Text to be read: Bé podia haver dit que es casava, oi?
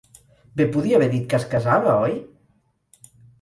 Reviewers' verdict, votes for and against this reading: accepted, 4, 0